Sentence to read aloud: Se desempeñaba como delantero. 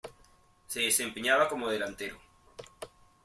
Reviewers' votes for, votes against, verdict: 2, 0, accepted